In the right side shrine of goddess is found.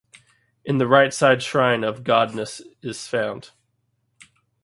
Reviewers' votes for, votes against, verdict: 1, 2, rejected